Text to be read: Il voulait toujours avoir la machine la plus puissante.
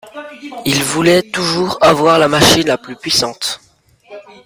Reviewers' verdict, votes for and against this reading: rejected, 0, 2